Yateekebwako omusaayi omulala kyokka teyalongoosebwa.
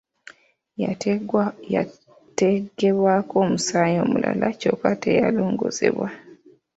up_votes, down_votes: 0, 2